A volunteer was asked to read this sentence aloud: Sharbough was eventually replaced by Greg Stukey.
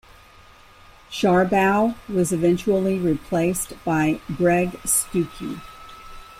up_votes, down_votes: 2, 0